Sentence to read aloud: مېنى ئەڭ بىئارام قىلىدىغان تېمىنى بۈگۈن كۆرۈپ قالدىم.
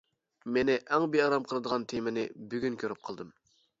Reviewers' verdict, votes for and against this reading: accepted, 2, 0